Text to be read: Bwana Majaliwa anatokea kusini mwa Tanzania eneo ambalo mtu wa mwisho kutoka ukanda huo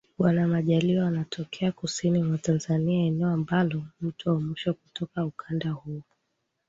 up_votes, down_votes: 2, 0